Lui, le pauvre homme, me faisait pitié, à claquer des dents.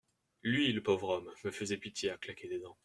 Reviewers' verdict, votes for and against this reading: accepted, 2, 0